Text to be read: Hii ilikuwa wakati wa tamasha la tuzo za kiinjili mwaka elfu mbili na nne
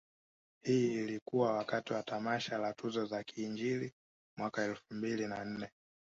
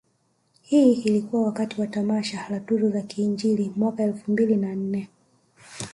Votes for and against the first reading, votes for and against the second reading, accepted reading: 1, 2, 2, 1, second